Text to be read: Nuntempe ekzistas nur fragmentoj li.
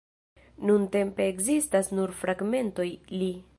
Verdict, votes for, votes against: accepted, 2, 0